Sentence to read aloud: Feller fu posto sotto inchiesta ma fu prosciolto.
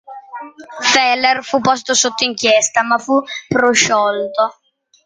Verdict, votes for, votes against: accepted, 2, 0